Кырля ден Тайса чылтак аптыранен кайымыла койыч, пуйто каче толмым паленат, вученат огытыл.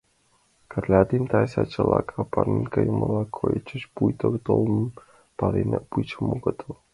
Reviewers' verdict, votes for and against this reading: rejected, 1, 2